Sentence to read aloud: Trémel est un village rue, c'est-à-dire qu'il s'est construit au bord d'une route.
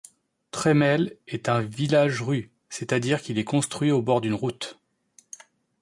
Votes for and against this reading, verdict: 1, 2, rejected